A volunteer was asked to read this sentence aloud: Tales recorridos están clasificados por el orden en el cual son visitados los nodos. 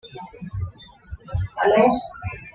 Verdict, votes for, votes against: rejected, 1, 2